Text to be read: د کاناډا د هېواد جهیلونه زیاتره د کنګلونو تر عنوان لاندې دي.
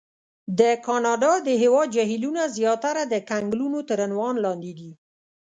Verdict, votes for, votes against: rejected, 0, 2